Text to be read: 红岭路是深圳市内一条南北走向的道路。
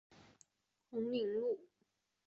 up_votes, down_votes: 0, 2